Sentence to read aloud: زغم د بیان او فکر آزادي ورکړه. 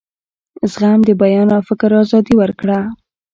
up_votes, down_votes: 2, 0